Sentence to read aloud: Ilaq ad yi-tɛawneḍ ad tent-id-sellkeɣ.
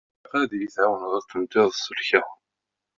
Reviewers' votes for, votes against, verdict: 0, 2, rejected